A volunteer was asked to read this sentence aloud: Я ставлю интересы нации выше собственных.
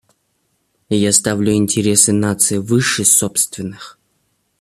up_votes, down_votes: 2, 0